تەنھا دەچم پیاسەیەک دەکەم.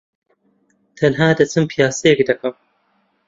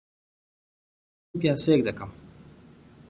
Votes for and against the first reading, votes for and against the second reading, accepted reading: 2, 0, 0, 2, first